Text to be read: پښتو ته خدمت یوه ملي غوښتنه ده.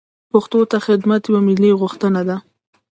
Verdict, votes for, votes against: rejected, 0, 2